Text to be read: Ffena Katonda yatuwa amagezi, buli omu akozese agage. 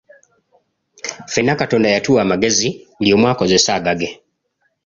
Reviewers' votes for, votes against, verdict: 2, 0, accepted